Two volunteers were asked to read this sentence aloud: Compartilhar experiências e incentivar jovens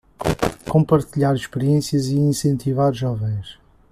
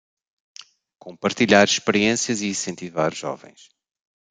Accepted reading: second